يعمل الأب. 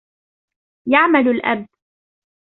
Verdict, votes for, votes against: rejected, 1, 2